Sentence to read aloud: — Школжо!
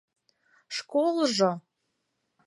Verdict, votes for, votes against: accepted, 4, 0